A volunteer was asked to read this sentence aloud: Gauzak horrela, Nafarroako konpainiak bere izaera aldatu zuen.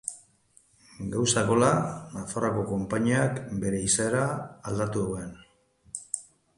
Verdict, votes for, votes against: rejected, 0, 2